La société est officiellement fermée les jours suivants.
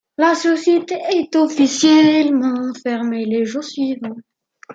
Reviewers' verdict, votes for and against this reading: accepted, 2, 0